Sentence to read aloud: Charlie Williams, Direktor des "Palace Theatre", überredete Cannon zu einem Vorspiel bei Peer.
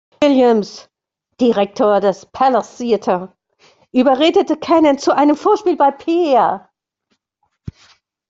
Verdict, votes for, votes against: rejected, 0, 2